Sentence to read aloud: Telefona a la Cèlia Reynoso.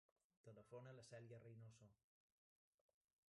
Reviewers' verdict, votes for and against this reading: rejected, 0, 2